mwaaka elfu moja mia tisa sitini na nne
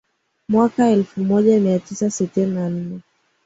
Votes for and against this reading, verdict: 2, 0, accepted